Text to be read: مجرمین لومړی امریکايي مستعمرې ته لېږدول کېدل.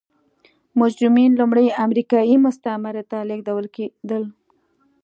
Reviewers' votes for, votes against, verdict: 2, 0, accepted